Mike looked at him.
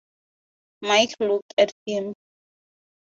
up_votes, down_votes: 2, 2